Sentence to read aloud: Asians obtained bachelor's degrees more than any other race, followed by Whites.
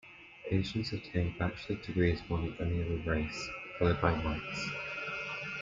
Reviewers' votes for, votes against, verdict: 2, 0, accepted